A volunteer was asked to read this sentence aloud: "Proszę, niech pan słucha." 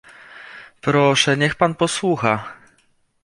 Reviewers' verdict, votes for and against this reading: rejected, 0, 2